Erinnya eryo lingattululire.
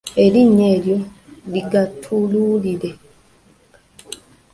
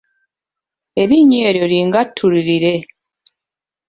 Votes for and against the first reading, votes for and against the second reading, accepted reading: 0, 2, 2, 0, second